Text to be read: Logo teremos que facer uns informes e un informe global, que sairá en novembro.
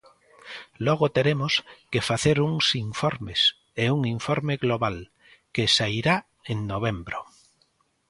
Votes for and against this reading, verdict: 2, 0, accepted